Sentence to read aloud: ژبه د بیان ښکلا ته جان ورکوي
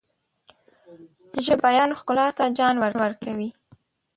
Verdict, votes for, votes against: rejected, 1, 2